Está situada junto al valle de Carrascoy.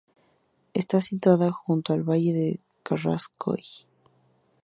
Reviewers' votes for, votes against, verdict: 4, 0, accepted